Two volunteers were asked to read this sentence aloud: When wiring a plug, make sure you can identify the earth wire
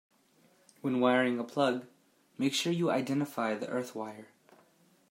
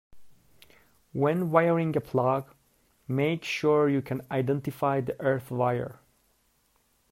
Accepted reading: second